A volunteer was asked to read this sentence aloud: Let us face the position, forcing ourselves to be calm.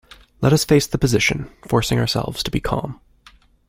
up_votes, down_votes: 2, 0